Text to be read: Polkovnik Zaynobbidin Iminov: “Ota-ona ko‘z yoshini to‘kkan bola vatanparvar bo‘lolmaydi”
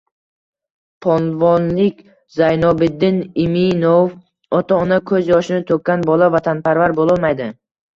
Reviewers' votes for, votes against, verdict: 1, 2, rejected